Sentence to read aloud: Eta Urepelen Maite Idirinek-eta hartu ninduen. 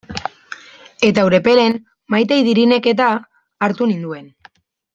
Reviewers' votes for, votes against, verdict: 2, 1, accepted